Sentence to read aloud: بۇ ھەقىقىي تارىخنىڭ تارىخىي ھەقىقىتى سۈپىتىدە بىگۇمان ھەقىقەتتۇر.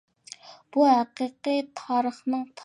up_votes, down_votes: 0, 2